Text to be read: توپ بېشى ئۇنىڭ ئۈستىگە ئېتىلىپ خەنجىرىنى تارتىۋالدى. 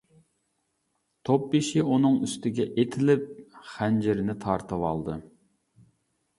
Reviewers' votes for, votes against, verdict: 2, 0, accepted